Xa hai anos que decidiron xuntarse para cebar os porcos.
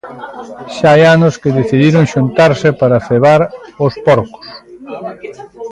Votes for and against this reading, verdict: 0, 2, rejected